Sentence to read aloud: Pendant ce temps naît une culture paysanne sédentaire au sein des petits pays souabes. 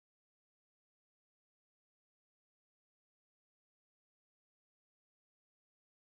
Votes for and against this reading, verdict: 1, 2, rejected